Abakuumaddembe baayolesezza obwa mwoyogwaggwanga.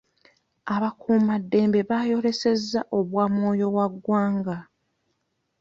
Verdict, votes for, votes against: rejected, 0, 2